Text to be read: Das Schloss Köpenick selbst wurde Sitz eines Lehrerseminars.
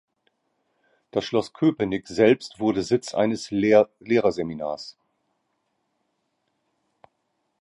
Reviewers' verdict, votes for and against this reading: rejected, 0, 2